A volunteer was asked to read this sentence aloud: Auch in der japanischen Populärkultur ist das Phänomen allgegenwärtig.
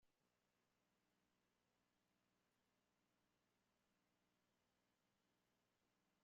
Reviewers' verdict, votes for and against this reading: rejected, 0, 2